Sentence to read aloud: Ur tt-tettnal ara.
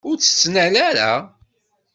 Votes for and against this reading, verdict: 2, 0, accepted